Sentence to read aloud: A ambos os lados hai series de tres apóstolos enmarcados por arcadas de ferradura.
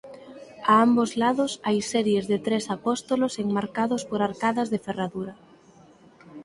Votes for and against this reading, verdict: 2, 4, rejected